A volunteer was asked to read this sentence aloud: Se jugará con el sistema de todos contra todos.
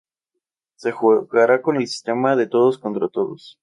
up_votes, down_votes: 0, 2